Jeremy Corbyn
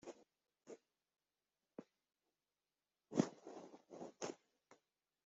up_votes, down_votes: 0, 2